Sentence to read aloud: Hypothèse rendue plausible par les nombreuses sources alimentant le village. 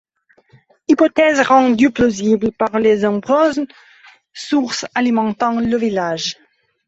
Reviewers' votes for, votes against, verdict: 1, 2, rejected